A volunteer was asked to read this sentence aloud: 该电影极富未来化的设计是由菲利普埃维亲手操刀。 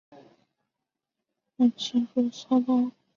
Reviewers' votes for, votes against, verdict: 0, 3, rejected